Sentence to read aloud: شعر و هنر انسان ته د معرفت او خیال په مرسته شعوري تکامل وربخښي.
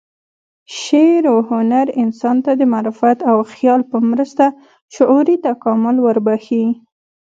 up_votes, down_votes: 2, 0